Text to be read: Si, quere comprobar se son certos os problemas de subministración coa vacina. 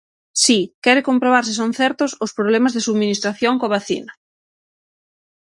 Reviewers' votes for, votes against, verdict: 6, 0, accepted